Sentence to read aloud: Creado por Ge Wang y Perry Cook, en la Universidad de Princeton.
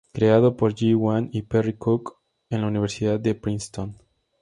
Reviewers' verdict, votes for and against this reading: accepted, 4, 0